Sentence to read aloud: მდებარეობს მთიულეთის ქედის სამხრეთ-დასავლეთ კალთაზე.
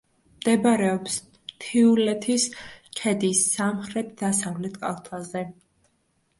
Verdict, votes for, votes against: accepted, 2, 0